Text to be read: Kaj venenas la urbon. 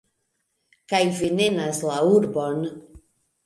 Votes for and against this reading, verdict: 1, 2, rejected